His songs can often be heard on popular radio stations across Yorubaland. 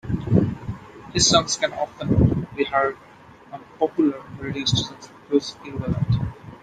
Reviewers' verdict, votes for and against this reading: accepted, 2, 1